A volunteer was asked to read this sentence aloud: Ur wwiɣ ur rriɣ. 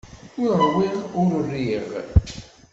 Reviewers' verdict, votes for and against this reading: rejected, 1, 2